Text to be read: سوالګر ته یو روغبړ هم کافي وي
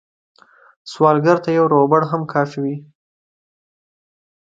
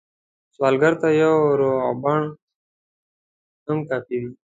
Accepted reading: first